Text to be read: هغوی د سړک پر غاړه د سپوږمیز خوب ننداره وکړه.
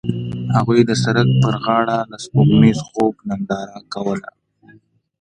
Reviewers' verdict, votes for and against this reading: rejected, 1, 2